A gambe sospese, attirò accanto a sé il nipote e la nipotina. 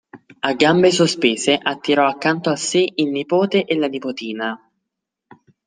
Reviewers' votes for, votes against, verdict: 2, 0, accepted